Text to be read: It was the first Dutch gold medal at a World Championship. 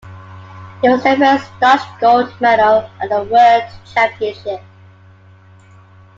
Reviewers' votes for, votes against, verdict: 2, 0, accepted